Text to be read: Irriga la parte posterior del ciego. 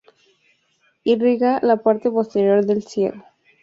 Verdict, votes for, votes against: accepted, 2, 0